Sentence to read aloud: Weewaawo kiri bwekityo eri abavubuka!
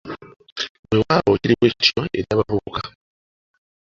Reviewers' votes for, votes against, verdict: 2, 1, accepted